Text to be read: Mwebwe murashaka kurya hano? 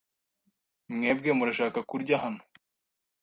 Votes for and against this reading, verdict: 2, 0, accepted